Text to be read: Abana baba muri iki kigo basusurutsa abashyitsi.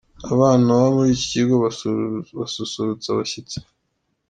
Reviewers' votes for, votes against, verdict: 1, 2, rejected